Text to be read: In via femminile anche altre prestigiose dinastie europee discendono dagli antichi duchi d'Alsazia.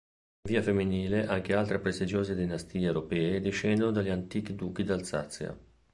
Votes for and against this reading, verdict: 2, 1, accepted